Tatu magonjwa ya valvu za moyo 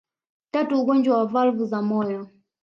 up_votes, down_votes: 2, 0